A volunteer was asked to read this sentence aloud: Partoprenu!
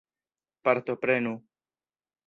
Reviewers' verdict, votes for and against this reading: accepted, 2, 0